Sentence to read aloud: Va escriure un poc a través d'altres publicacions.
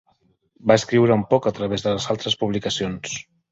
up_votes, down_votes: 1, 2